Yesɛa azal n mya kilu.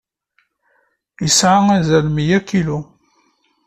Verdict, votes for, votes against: accepted, 2, 0